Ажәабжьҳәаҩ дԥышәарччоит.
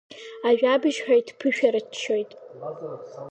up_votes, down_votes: 2, 0